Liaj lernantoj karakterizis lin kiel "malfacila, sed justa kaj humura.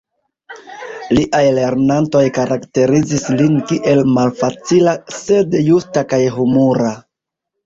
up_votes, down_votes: 1, 2